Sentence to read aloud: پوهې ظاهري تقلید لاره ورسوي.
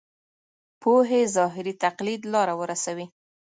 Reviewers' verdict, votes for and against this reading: accepted, 2, 0